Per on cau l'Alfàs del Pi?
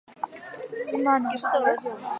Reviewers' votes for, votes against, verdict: 0, 4, rejected